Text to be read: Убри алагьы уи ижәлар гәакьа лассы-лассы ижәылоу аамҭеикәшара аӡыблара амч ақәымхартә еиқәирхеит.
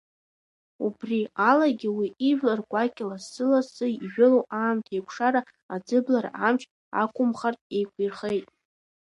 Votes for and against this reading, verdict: 2, 0, accepted